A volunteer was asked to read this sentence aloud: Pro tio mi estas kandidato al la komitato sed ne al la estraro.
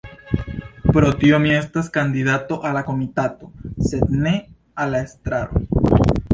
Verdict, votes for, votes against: accepted, 2, 1